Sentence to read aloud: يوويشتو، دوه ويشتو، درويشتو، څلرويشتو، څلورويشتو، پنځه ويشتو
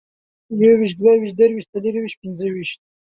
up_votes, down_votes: 1, 2